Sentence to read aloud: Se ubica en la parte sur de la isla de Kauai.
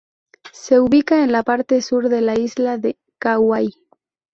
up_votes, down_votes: 0, 2